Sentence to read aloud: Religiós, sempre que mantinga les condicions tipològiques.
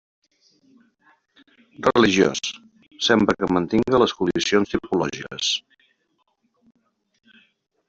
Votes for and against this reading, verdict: 0, 2, rejected